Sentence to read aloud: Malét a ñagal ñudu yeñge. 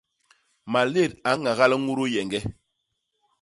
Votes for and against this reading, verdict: 2, 0, accepted